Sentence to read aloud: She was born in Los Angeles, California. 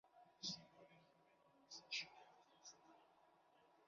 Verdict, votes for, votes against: rejected, 0, 2